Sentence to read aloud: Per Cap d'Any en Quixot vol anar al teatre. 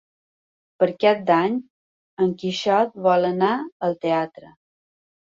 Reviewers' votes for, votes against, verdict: 2, 0, accepted